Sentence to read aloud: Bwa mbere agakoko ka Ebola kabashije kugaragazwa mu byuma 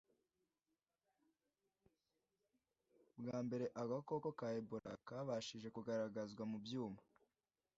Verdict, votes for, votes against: accepted, 2, 0